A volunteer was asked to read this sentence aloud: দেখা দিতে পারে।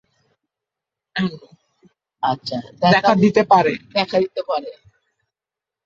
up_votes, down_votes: 2, 4